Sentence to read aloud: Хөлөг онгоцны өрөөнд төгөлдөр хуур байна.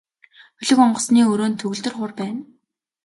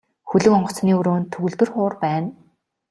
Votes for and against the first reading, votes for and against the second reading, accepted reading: 0, 2, 2, 0, second